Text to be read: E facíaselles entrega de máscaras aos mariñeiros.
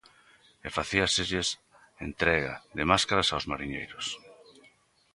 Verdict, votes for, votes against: rejected, 1, 2